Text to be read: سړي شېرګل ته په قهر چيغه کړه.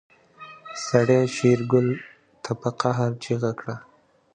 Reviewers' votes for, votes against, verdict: 1, 2, rejected